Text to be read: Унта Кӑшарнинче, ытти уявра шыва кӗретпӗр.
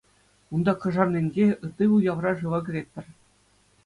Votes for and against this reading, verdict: 2, 0, accepted